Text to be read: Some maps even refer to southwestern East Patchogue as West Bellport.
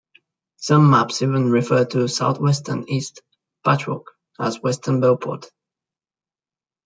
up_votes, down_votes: 0, 2